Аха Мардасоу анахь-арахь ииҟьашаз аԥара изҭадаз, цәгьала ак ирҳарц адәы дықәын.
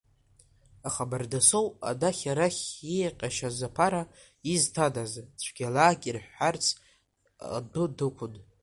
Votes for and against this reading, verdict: 1, 2, rejected